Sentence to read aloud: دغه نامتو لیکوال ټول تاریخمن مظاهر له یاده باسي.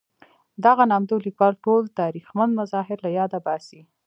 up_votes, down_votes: 1, 2